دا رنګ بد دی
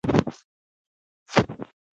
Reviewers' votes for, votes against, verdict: 1, 2, rejected